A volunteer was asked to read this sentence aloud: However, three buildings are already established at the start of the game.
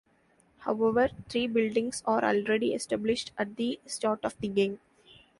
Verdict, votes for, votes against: accepted, 2, 0